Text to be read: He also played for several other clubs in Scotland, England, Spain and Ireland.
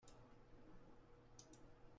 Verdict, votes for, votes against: rejected, 0, 2